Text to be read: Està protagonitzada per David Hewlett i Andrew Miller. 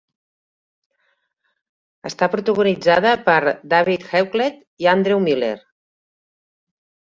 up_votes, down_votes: 0, 2